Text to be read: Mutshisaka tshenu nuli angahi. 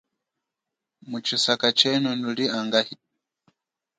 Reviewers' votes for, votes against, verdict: 2, 0, accepted